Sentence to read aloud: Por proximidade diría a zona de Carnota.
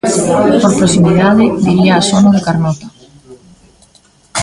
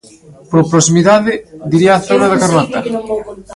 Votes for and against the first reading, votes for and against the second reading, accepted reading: 2, 3, 2, 1, second